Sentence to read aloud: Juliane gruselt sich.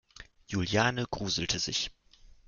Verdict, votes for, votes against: accepted, 2, 1